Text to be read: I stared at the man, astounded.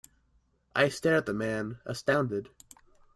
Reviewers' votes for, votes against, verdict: 0, 2, rejected